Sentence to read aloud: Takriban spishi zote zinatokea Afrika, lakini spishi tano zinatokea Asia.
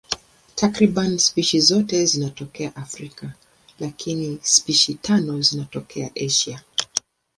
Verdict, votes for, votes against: accepted, 2, 0